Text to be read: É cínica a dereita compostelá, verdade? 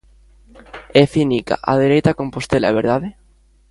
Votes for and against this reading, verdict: 0, 2, rejected